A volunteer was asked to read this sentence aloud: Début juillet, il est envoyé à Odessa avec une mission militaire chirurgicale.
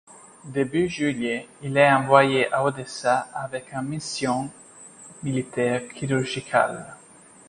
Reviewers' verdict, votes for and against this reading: accepted, 2, 0